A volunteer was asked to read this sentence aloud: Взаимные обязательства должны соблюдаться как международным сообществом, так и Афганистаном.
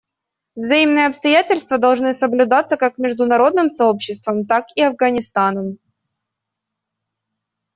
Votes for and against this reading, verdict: 1, 2, rejected